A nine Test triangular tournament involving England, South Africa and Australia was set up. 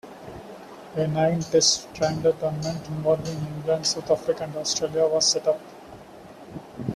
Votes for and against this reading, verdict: 1, 2, rejected